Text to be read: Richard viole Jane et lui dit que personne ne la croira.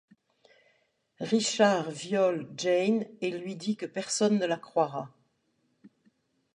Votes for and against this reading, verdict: 2, 0, accepted